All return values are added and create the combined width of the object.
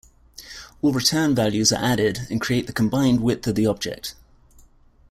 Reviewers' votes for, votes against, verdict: 2, 0, accepted